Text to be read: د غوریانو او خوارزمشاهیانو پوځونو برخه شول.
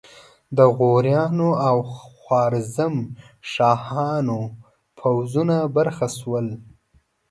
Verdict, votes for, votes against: rejected, 1, 2